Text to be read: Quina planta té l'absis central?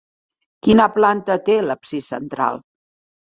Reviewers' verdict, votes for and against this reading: accepted, 2, 0